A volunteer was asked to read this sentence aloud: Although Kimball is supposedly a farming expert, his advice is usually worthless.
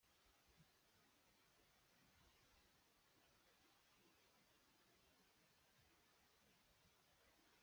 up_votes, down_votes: 0, 2